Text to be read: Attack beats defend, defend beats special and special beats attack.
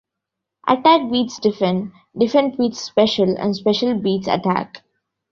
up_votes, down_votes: 2, 1